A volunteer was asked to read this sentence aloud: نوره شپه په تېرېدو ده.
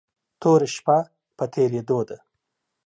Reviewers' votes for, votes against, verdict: 1, 2, rejected